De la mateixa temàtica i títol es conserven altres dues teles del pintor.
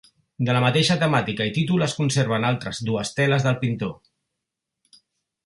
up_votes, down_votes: 3, 0